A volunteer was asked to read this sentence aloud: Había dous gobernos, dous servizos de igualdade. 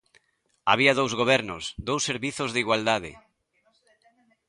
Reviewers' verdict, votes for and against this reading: rejected, 1, 2